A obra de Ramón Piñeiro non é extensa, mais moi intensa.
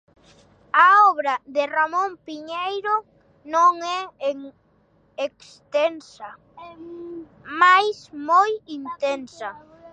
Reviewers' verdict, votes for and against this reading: rejected, 0, 2